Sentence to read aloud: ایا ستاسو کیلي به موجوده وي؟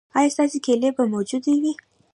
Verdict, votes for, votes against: accepted, 2, 0